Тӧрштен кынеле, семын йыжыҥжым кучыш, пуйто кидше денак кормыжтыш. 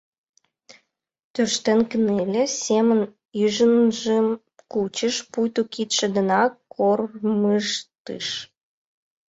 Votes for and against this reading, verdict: 0, 2, rejected